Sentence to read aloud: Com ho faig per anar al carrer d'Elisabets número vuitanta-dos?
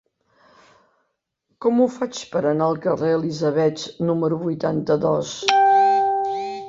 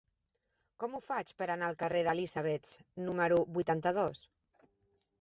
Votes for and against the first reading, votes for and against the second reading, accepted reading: 1, 2, 2, 0, second